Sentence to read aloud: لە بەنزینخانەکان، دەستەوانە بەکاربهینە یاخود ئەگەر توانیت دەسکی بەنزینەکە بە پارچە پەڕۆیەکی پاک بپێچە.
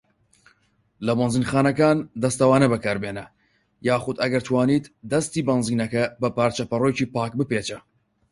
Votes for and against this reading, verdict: 4, 0, accepted